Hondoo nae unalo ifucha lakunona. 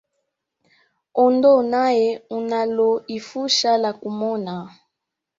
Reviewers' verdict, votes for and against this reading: rejected, 1, 2